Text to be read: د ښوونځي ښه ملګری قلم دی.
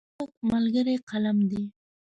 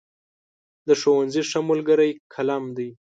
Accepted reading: second